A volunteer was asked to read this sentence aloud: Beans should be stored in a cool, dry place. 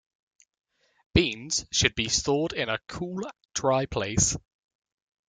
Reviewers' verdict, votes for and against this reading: accepted, 2, 0